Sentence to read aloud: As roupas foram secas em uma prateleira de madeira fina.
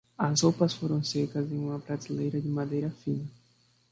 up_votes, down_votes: 1, 2